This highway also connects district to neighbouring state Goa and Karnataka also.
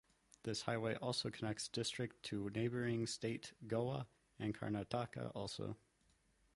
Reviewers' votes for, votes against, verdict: 2, 0, accepted